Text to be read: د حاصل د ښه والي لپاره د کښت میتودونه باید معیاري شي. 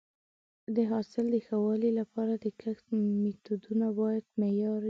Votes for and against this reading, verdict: 1, 2, rejected